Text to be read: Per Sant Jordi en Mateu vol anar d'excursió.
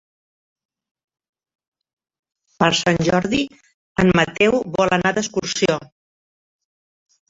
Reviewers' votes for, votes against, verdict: 1, 2, rejected